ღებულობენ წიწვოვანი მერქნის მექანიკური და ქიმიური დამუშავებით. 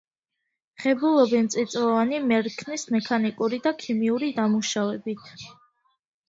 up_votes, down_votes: 2, 0